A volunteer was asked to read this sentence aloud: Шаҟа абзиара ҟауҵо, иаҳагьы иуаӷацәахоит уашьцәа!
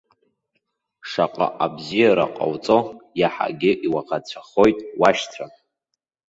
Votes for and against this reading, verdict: 2, 0, accepted